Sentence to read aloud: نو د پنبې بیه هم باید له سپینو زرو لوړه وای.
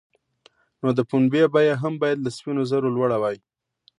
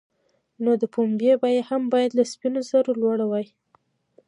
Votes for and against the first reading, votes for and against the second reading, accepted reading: 2, 0, 0, 2, first